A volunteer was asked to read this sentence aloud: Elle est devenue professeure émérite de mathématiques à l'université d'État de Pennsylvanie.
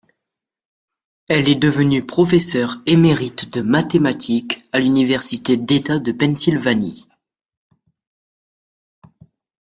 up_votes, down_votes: 1, 2